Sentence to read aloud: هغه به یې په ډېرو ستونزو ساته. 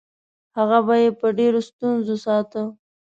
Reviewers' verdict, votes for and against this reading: accepted, 2, 0